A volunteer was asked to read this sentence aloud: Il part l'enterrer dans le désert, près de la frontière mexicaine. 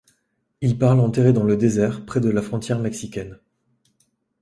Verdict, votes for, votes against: accepted, 2, 0